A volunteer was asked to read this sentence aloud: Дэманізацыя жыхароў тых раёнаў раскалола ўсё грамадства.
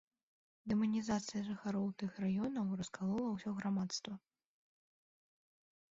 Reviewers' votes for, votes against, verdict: 2, 0, accepted